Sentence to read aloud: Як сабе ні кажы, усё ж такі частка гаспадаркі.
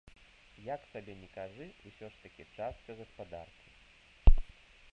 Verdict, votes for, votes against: rejected, 1, 2